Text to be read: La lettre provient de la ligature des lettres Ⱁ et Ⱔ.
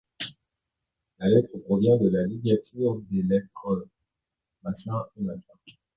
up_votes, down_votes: 0, 2